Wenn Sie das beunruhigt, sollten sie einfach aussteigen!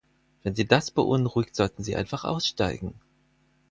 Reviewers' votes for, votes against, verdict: 4, 0, accepted